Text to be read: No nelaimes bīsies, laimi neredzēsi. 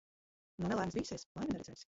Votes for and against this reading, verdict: 1, 2, rejected